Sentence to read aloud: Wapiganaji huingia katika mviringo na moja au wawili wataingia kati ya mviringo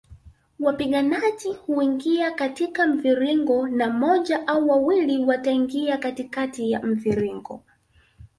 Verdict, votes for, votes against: rejected, 1, 2